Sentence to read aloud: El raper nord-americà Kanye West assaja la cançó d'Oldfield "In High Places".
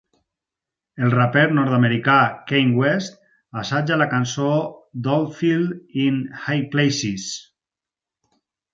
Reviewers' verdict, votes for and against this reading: rejected, 2, 4